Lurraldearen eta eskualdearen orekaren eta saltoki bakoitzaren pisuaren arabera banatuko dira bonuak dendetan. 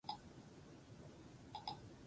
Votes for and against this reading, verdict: 0, 4, rejected